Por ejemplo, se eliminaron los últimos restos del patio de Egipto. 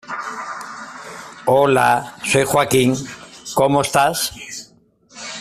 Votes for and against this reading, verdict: 0, 2, rejected